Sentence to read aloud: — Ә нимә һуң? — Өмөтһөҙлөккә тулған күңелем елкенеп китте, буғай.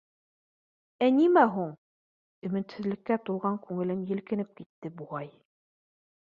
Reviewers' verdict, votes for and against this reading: accepted, 2, 0